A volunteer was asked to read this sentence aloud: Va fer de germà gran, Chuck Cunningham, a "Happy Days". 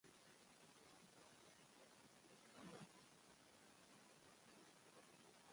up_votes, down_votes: 0, 2